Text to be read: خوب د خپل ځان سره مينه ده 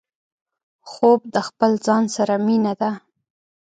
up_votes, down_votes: 3, 0